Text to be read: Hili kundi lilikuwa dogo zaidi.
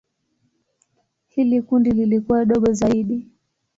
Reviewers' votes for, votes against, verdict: 8, 1, accepted